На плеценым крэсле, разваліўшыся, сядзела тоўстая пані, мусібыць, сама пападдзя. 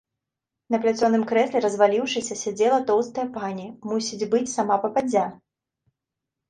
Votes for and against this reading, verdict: 1, 2, rejected